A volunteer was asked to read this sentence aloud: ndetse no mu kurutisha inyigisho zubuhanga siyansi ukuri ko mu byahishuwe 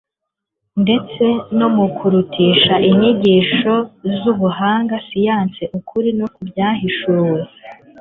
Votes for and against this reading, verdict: 2, 0, accepted